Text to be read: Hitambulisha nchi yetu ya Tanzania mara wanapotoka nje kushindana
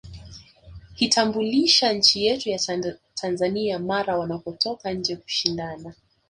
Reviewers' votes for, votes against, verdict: 1, 2, rejected